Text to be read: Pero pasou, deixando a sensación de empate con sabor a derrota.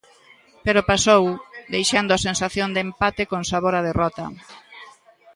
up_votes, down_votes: 2, 0